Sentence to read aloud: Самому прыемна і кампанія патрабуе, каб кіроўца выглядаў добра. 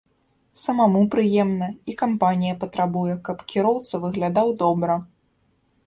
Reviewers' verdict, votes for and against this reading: rejected, 1, 2